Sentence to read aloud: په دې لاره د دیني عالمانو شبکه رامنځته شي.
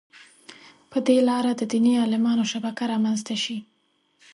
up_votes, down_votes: 5, 0